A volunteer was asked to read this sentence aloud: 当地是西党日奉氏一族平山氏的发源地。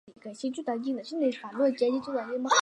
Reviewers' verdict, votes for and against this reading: rejected, 0, 2